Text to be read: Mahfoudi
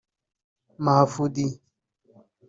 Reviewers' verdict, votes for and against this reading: rejected, 2, 3